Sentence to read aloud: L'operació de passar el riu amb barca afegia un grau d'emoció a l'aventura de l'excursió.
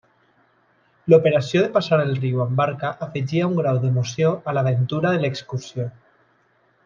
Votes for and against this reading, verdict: 0, 2, rejected